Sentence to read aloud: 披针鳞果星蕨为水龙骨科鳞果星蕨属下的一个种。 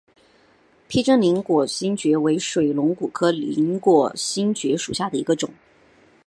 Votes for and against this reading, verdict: 2, 2, rejected